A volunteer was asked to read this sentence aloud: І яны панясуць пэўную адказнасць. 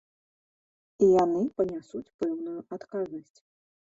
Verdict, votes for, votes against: accepted, 2, 0